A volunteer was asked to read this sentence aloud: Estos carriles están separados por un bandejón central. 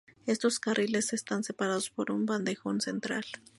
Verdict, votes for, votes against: accepted, 2, 0